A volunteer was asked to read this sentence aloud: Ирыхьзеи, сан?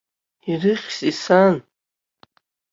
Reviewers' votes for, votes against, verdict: 2, 0, accepted